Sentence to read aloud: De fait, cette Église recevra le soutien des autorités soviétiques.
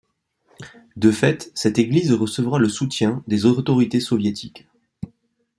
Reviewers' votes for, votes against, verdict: 1, 2, rejected